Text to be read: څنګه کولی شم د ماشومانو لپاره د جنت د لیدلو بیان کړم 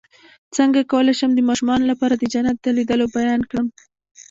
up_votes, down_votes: 2, 0